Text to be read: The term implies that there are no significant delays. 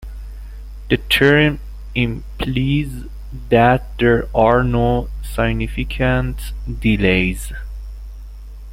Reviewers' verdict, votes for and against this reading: rejected, 1, 2